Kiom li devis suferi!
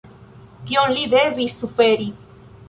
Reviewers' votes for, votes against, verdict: 1, 2, rejected